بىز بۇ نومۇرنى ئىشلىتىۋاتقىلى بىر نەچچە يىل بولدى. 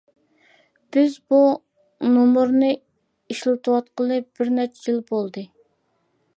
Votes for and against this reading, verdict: 2, 0, accepted